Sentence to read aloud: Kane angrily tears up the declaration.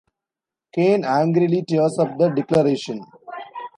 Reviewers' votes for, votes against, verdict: 2, 0, accepted